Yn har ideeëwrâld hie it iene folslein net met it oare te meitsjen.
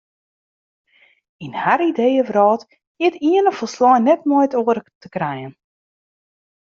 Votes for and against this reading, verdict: 1, 2, rejected